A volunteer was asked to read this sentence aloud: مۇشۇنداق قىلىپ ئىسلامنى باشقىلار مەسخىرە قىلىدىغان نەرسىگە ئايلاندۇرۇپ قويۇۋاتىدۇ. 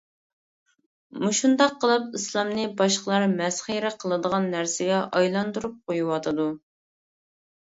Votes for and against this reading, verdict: 2, 0, accepted